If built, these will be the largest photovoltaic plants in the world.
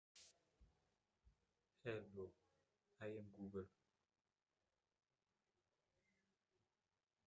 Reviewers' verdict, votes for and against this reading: rejected, 0, 2